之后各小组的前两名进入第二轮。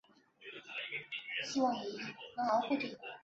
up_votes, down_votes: 1, 2